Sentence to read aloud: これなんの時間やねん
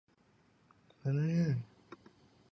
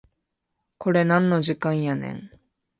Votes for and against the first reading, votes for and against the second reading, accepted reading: 0, 2, 2, 0, second